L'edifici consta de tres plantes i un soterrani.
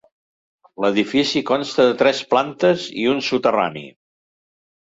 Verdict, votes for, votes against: accepted, 3, 0